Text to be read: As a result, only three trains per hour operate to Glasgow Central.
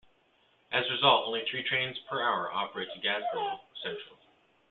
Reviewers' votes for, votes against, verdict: 1, 2, rejected